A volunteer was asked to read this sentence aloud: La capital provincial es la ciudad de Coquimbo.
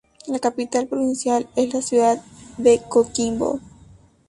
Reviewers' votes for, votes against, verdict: 2, 0, accepted